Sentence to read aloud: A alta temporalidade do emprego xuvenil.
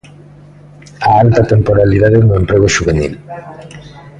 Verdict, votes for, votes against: rejected, 0, 2